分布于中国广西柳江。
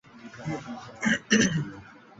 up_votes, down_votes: 0, 5